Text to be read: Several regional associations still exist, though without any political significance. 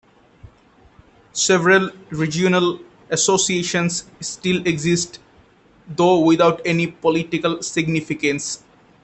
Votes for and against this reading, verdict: 1, 2, rejected